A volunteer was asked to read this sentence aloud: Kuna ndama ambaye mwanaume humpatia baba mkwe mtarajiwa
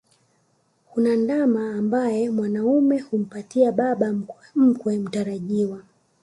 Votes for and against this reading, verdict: 2, 0, accepted